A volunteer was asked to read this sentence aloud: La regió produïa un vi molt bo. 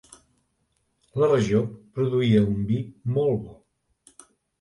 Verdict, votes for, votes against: accepted, 3, 0